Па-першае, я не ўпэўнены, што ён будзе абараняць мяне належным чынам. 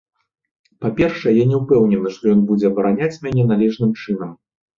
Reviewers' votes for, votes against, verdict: 2, 0, accepted